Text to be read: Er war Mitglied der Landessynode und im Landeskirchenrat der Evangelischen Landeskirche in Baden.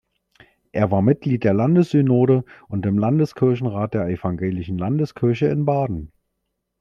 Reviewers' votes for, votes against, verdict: 2, 0, accepted